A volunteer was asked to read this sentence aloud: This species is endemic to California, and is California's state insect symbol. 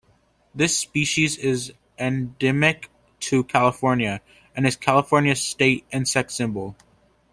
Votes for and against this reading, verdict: 2, 0, accepted